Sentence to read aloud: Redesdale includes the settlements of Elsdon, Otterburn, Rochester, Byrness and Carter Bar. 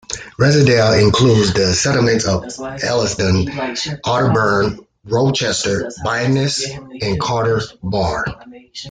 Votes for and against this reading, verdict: 1, 2, rejected